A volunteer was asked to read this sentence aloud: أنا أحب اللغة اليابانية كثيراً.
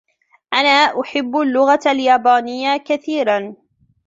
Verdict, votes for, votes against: accepted, 2, 0